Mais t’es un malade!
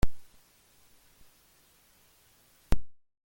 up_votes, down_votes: 0, 2